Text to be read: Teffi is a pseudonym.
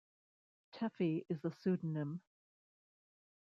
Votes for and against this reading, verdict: 2, 1, accepted